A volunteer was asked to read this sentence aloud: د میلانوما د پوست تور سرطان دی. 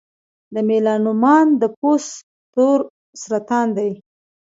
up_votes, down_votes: 2, 0